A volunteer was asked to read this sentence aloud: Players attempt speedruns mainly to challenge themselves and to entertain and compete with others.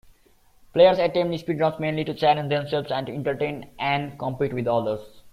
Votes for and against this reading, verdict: 2, 0, accepted